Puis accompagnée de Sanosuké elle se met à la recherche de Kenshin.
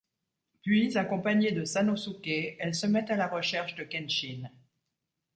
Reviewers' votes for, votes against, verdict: 2, 0, accepted